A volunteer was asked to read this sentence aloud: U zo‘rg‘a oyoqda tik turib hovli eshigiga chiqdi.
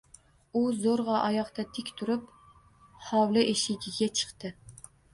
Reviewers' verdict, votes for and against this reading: rejected, 1, 2